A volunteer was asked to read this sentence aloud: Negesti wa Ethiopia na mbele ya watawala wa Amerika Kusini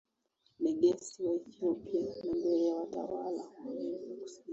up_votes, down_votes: 2, 1